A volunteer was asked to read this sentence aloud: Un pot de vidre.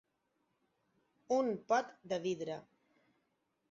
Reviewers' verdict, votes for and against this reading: accepted, 9, 3